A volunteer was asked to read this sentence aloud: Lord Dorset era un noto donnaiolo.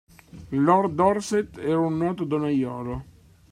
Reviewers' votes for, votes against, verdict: 1, 2, rejected